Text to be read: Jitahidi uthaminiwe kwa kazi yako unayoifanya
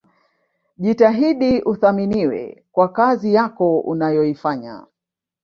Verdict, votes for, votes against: rejected, 1, 2